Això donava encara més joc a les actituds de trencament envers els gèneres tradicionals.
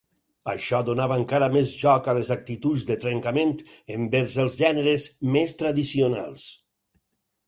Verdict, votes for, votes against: rejected, 0, 4